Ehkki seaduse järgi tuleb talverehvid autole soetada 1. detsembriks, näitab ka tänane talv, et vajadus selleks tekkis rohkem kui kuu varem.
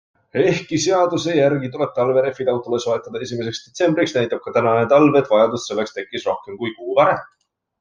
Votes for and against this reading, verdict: 0, 2, rejected